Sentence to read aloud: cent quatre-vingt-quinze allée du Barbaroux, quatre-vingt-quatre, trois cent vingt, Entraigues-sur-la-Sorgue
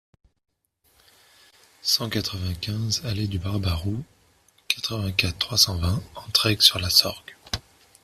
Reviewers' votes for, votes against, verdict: 2, 0, accepted